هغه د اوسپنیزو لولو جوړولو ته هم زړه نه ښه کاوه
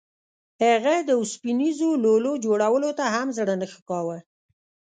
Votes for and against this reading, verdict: 0, 2, rejected